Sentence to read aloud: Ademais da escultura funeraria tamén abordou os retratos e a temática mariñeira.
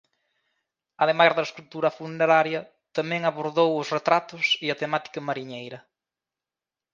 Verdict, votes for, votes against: rejected, 0, 2